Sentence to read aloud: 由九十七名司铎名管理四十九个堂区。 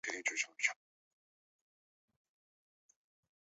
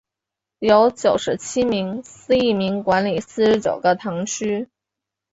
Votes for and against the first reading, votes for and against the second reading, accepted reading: 0, 2, 3, 0, second